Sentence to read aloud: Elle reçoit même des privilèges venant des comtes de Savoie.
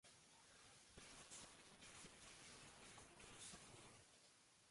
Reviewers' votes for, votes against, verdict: 0, 2, rejected